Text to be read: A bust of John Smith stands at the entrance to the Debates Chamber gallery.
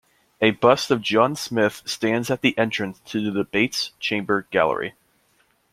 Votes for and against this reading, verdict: 2, 0, accepted